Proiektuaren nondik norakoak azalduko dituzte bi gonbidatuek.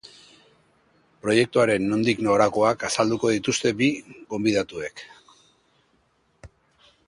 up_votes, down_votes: 2, 0